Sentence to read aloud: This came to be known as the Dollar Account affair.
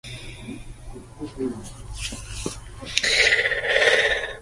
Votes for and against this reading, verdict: 0, 2, rejected